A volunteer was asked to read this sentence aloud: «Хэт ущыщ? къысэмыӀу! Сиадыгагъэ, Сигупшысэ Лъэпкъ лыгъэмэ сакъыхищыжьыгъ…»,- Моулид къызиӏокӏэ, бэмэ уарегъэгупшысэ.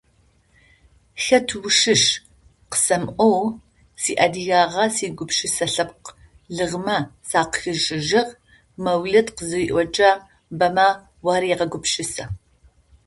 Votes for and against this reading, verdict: 0, 2, rejected